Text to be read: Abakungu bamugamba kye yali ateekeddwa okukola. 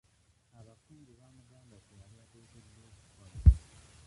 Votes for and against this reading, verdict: 1, 2, rejected